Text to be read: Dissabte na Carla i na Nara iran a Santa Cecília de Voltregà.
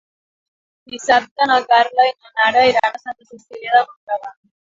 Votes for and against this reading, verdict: 1, 3, rejected